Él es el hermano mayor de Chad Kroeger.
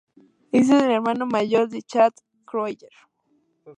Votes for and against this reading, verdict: 2, 0, accepted